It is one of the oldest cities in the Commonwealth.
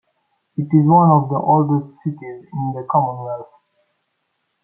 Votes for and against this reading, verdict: 2, 0, accepted